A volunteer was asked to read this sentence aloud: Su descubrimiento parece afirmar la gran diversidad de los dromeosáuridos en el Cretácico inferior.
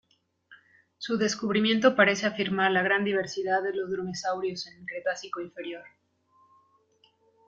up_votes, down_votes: 0, 2